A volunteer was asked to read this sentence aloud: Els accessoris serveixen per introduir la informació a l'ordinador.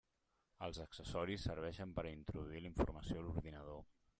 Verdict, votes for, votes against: rejected, 0, 2